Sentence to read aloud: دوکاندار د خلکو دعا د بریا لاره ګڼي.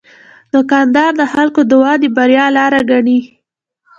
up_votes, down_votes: 2, 0